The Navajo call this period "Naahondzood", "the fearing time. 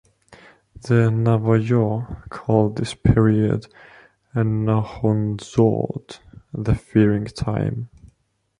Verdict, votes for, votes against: rejected, 0, 3